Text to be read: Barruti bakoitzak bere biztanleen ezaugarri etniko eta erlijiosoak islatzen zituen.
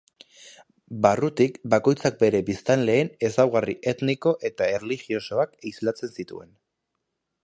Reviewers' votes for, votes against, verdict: 2, 1, accepted